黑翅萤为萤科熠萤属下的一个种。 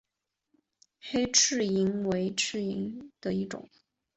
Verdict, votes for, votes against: rejected, 2, 3